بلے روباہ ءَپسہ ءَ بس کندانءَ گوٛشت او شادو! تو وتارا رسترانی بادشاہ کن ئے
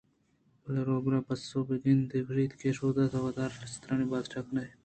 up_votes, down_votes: 2, 1